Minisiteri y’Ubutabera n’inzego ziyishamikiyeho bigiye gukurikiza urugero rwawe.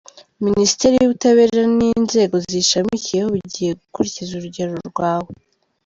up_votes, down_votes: 2, 0